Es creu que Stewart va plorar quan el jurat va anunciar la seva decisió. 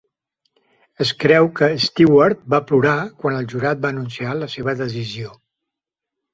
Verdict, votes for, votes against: accepted, 3, 1